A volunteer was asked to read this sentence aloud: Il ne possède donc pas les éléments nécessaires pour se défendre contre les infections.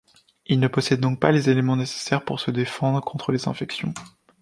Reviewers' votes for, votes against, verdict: 2, 0, accepted